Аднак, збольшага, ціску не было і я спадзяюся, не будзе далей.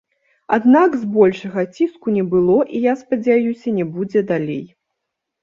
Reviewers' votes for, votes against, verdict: 2, 0, accepted